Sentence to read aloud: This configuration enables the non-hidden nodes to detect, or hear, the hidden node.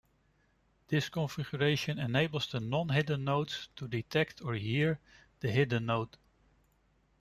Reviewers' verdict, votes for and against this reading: rejected, 0, 2